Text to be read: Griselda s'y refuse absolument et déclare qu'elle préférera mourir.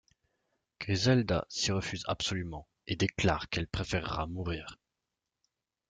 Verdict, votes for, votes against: accepted, 2, 1